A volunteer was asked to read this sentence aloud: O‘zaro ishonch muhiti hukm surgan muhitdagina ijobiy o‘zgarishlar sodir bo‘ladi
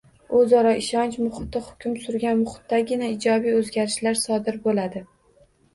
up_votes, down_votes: 2, 0